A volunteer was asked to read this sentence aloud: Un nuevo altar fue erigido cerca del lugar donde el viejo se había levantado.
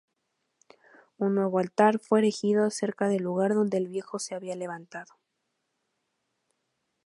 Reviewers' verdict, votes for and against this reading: accepted, 4, 0